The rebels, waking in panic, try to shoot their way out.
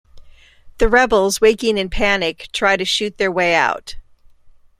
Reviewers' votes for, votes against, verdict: 2, 0, accepted